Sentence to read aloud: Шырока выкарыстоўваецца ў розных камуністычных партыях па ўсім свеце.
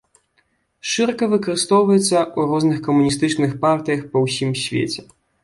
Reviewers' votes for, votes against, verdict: 0, 2, rejected